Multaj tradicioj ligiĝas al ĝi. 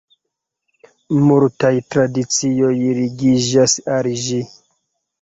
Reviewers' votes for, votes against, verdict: 2, 1, accepted